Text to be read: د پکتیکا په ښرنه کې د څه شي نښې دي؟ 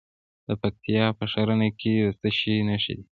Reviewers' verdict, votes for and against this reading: rejected, 1, 2